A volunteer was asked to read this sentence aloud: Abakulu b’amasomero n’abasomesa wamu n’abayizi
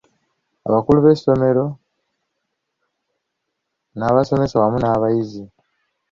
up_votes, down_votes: 0, 2